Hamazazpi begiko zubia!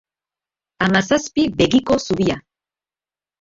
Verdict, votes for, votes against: accepted, 2, 0